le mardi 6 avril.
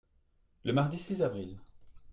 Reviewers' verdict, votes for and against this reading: rejected, 0, 2